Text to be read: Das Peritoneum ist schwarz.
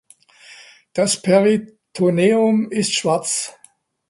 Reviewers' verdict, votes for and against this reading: accepted, 2, 0